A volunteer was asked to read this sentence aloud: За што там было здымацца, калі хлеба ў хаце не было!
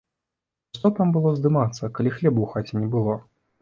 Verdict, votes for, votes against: rejected, 0, 2